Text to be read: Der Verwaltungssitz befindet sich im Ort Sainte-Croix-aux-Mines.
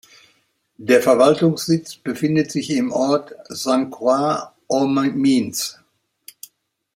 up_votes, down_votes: 0, 2